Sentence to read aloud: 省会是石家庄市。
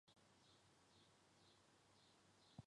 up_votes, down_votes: 0, 2